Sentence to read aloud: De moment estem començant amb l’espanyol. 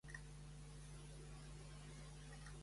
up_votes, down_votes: 0, 2